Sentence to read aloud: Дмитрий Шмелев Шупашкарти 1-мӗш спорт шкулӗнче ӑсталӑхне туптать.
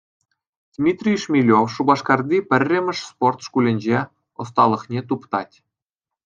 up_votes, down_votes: 0, 2